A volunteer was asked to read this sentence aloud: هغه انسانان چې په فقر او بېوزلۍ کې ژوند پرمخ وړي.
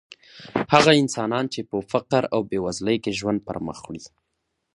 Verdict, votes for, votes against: rejected, 1, 2